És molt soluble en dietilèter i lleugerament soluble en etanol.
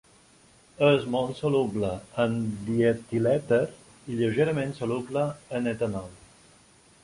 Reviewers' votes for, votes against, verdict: 2, 0, accepted